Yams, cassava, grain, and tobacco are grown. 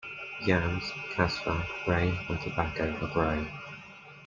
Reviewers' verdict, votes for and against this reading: rejected, 1, 2